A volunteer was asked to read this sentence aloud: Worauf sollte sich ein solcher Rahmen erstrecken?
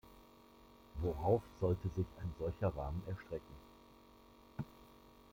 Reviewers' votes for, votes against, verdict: 2, 0, accepted